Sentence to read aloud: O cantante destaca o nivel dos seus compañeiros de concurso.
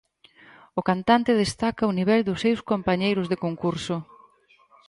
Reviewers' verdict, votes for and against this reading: accepted, 4, 0